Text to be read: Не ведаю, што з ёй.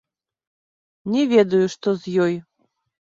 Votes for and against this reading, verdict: 2, 0, accepted